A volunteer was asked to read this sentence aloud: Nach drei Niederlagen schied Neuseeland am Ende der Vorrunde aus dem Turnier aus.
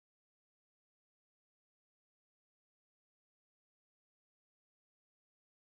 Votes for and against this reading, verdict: 0, 2, rejected